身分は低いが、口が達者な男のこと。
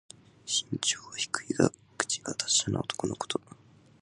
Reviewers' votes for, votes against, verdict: 0, 2, rejected